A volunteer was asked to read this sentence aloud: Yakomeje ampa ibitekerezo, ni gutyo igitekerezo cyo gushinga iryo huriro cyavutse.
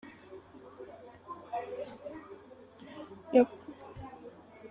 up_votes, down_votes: 0, 3